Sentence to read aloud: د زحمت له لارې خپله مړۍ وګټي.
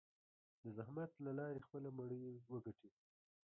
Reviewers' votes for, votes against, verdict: 2, 0, accepted